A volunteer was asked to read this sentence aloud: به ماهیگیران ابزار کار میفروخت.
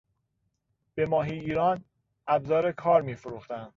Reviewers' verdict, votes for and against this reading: rejected, 1, 2